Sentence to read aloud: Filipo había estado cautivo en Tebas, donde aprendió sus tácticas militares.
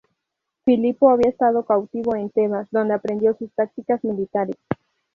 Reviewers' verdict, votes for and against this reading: rejected, 2, 2